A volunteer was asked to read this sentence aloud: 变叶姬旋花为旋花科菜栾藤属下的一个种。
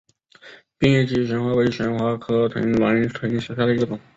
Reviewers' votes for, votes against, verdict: 1, 4, rejected